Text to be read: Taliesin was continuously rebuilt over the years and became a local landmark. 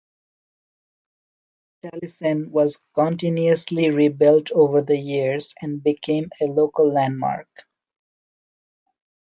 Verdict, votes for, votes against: rejected, 0, 2